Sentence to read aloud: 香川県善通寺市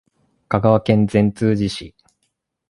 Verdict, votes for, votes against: accepted, 2, 0